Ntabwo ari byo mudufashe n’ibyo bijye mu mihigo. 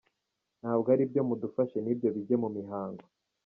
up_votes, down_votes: 0, 2